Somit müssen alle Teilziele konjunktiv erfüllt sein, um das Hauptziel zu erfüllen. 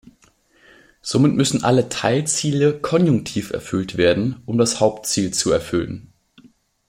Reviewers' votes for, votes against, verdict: 1, 2, rejected